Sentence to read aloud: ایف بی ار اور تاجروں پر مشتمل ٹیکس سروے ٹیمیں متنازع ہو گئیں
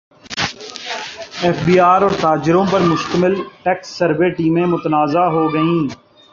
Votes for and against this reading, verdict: 2, 0, accepted